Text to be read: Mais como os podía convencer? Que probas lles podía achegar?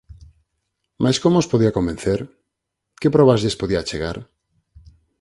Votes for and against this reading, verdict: 4, 0, accepted